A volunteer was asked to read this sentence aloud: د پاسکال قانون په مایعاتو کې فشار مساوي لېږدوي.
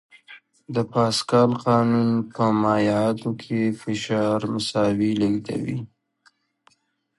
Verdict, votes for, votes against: rejected, 1, 2